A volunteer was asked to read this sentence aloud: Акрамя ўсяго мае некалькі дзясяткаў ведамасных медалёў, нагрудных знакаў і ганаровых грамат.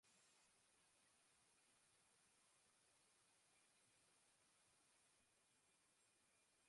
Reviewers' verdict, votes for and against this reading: rejected, 0, 2